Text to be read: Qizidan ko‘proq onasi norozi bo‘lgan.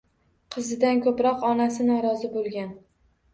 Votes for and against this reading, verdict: 2, 0, accepted